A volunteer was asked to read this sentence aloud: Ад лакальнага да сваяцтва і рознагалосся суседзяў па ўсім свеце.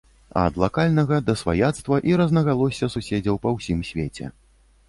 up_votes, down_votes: 2, 0